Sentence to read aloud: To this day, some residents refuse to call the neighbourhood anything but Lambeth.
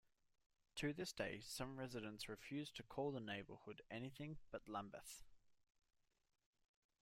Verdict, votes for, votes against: accepted, 2, 1